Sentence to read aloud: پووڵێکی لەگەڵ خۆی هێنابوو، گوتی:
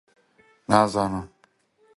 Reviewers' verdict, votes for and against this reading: rejected, 0, 2